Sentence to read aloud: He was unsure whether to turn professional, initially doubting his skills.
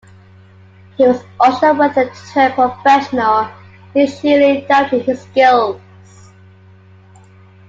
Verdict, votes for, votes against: accepted, 2, 1